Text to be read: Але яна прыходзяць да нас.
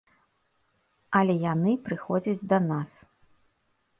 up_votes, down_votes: 1, 2